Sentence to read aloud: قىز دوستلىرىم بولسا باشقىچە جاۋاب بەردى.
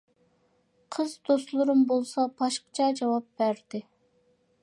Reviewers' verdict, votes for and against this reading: accepted, 2, 0